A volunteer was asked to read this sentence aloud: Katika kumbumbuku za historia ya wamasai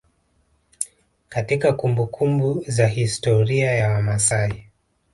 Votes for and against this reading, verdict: 1, 2, rejected